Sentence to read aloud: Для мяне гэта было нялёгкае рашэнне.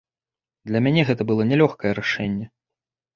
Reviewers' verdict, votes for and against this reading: accepted, 2, 0